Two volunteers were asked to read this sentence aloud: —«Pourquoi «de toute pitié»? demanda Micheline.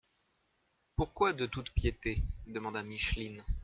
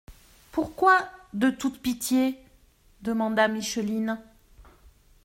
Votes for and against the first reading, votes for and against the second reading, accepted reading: 1, 2, 2, 0, second